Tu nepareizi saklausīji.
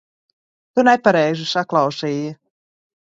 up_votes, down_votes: 0, 2